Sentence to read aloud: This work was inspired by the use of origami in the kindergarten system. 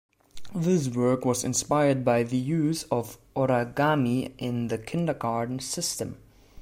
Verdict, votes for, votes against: rejected, 1, 2